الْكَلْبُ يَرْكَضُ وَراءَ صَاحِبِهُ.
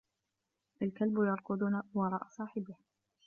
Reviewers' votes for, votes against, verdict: 3, 0, accepted